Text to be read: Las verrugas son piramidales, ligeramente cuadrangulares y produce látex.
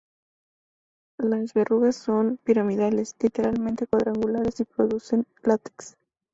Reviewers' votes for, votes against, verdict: 0, 2, rejected